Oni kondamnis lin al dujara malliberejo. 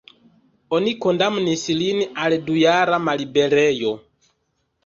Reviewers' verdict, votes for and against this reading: accepted, 2, 1